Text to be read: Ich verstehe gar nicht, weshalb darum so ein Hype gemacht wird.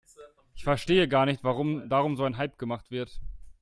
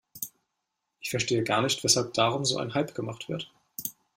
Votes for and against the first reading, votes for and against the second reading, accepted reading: 0, 2, 2, 0, second